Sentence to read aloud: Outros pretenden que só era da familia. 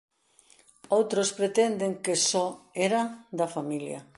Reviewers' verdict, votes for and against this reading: accepted, 2, 0